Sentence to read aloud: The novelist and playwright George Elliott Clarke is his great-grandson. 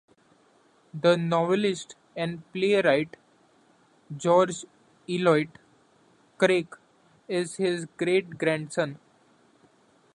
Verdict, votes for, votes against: rejected, 0, 2